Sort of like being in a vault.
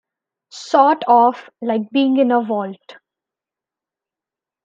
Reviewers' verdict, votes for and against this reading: accepted, 2, 0